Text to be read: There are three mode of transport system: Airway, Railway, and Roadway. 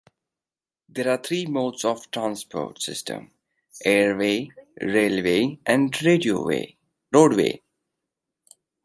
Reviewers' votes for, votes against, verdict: 1, 2, rejected